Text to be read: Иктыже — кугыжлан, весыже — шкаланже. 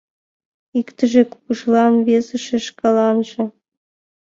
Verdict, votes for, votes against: accepted, 2, 0